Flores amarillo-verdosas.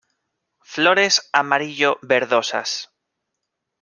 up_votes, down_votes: 2, 0